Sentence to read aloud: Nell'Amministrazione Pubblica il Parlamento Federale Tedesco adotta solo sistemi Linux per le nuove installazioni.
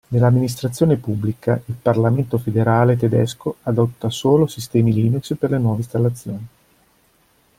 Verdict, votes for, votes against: accepted, 2, 0